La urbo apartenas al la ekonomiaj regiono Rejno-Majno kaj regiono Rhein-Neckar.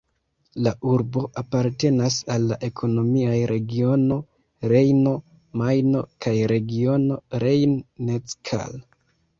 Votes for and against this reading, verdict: 1, 2, rejected